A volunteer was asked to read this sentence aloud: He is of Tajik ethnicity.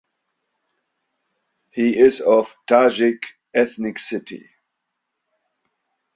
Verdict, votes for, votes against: rejected, 1, 2